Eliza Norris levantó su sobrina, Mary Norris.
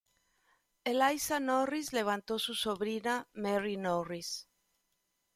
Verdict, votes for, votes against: accepted, 2, 0